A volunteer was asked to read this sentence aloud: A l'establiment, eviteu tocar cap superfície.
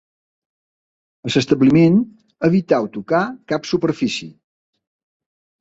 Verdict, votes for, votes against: rejected, 2, 3